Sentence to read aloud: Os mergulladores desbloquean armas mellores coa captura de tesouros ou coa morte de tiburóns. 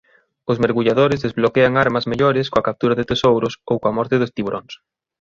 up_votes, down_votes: 3, 0